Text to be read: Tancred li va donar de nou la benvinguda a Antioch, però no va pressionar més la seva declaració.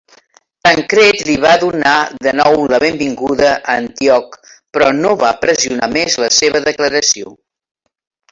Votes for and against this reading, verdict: 2, 1, accepted